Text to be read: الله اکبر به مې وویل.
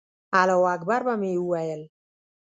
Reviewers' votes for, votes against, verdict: 1, 2, rejected